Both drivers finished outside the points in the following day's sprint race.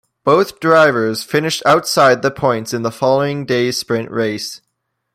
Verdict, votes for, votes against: accepted, 2, 0